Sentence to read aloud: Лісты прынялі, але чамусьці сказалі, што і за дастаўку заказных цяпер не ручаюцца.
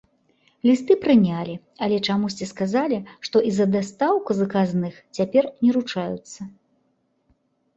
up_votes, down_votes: 1, 2